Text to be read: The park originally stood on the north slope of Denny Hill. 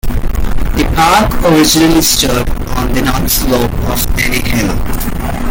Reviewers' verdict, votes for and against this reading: rejected, 0, 2